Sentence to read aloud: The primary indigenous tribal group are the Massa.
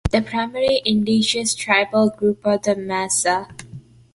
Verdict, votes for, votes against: rejected, 1, 2